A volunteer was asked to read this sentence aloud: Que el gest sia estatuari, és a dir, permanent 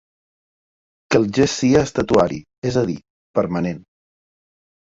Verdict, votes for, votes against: accepted, 4, 0